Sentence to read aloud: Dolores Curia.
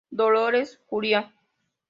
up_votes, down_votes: 2, 1